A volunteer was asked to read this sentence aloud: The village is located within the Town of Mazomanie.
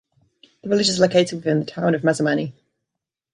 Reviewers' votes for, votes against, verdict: 2, 3, rejected